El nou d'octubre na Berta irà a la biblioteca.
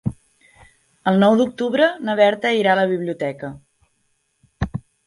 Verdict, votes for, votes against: accepted, 3, 0